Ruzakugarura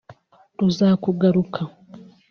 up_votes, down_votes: 2, 0